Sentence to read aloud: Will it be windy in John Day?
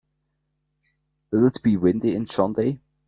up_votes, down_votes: 1, 2